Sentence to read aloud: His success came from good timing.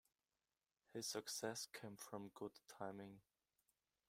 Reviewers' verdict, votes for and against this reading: rejected, 0, 2